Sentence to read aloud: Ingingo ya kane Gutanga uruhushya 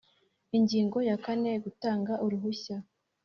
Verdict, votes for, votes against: accepted, 2, 0